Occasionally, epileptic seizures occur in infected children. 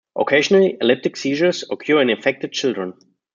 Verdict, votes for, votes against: accepted, 2, 1